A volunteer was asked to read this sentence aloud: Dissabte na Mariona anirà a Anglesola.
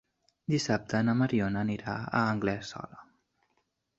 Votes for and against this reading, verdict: 2, 0, accepted